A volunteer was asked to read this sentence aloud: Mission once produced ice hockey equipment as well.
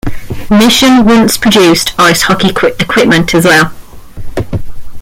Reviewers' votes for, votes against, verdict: 0, 2, rejected